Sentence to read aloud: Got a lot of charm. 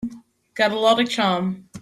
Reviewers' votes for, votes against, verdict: 2, 0, accepted